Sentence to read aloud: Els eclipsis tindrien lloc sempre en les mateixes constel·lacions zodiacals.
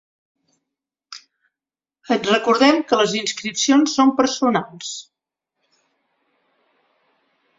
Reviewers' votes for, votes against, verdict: 1, 3, rejected